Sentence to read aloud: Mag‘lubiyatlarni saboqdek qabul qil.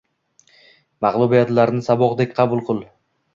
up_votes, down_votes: 2, 0